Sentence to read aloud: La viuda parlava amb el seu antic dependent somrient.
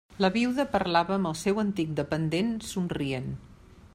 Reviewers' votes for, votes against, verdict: 3, 0, accepted